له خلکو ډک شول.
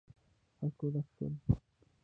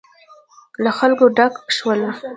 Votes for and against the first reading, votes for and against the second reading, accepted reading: 2, 0, 0, 2, first